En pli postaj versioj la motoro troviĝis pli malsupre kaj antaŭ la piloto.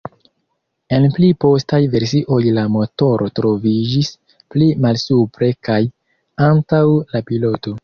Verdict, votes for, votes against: rejected, 2, 3